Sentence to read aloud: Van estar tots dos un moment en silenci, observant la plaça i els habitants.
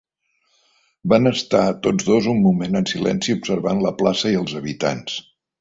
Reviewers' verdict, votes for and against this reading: accepted, 3, 0